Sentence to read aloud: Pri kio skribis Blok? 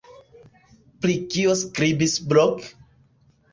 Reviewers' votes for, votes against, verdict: 1, 2, rejected